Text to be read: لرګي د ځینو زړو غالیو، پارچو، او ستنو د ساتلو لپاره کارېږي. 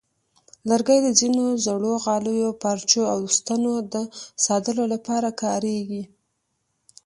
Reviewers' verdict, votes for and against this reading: rejected, 1, 2